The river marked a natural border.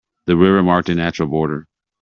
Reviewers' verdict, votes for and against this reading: accepted, 2, 0